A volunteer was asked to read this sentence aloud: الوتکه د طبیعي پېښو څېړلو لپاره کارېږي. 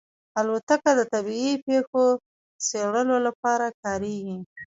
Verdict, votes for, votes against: accepted, 2, 1